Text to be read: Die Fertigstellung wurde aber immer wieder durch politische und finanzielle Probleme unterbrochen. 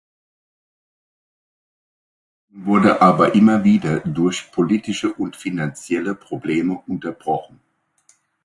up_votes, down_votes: 0, 2